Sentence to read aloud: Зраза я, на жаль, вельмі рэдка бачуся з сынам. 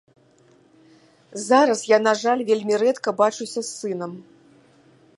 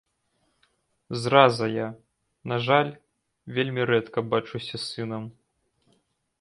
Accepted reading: second